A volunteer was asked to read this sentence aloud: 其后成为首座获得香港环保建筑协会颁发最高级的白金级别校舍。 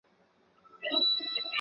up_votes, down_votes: 0, 2